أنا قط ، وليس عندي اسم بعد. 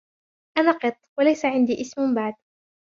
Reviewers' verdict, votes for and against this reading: rejected, 0, 2